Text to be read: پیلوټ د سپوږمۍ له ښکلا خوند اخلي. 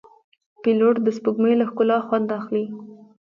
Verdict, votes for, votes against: rejected, 0, 2